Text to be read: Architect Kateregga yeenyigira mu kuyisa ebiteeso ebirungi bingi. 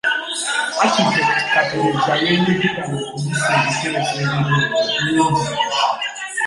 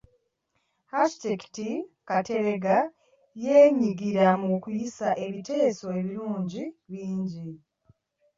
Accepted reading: second